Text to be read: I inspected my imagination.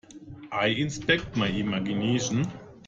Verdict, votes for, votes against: rejected, 0, 2